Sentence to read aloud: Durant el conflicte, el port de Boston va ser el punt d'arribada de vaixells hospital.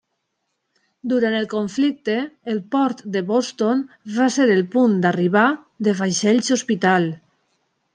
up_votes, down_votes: 0, 2